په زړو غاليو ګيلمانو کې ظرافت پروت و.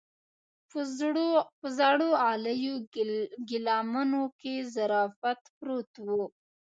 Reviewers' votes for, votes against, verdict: 0, 2, rejected